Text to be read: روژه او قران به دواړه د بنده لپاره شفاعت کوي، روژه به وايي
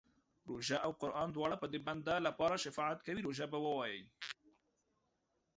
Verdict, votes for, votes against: rejected, 1, 2